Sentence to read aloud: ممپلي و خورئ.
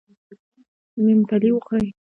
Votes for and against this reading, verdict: 2, 1, accepted